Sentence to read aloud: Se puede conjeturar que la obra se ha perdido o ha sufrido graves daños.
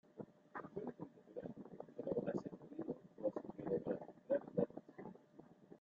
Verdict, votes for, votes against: rejected, 1, 2